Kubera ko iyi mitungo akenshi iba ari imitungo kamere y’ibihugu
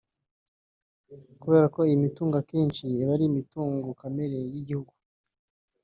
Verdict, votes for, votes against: rejected, 2, 3